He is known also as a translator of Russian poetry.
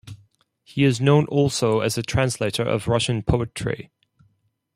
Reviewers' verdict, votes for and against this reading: accepted, 4, 0